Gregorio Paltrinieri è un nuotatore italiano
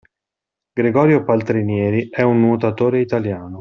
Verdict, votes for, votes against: accepted, 2, 0